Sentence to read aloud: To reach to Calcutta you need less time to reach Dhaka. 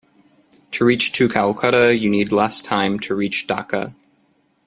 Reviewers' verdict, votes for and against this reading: accepted, 2, 0